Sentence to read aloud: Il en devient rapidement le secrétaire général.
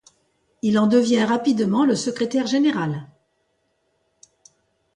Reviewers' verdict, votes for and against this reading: accepted, 2, 1